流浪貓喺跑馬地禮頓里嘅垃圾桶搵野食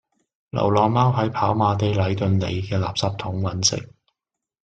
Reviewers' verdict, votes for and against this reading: rejected, 0, 2